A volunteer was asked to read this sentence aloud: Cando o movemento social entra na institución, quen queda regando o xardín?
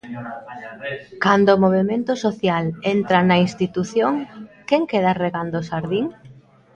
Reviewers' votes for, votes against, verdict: 1, 2, rejected